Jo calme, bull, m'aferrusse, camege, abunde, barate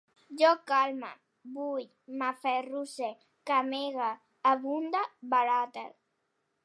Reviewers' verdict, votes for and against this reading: rejected, 1, 2